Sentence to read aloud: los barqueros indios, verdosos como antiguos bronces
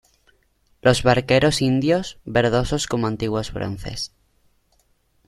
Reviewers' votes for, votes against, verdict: 2, 0, accepted